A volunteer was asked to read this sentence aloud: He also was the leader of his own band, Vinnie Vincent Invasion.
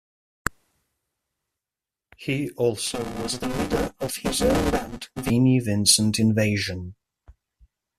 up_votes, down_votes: 0, 2